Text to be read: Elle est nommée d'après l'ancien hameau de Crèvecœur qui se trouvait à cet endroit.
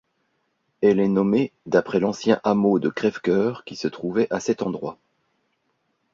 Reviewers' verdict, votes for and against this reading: accepted, 2, 0